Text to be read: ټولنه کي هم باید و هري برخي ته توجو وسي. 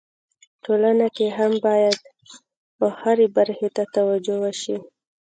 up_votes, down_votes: 1, 2